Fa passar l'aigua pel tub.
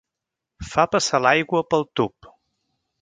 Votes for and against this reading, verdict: 3, 0, accepted